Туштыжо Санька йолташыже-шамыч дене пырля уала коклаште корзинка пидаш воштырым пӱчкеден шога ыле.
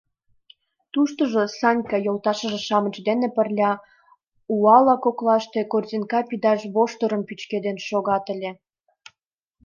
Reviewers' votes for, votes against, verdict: 1, 2, rejected